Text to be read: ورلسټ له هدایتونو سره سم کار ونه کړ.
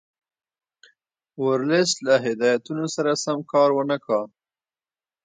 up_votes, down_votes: 2, 0